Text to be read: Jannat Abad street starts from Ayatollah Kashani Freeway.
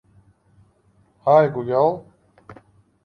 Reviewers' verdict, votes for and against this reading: rejected, 0, 2